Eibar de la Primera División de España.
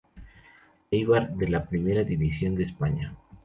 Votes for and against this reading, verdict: 2, 0, accepted